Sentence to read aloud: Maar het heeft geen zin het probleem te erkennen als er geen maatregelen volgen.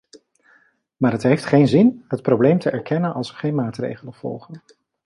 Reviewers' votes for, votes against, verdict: 2, 0, accepted